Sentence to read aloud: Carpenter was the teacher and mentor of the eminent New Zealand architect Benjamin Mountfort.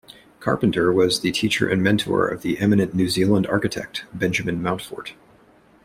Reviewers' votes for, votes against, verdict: 2, 0, accepted